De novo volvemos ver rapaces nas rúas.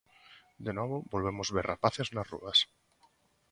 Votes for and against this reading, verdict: 2, 0, accepted